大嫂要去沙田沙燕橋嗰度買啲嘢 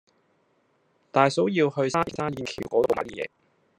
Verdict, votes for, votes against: rejected, 0, 2